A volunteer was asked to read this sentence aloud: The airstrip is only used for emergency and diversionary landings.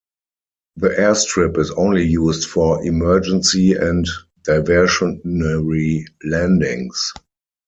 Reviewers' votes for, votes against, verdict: 0, 4, rejected